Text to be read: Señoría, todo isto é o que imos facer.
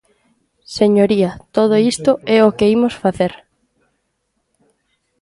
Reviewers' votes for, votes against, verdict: 1, 2, rejected